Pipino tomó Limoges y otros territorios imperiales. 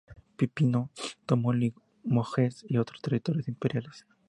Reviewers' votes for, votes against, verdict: 2, 0, accepted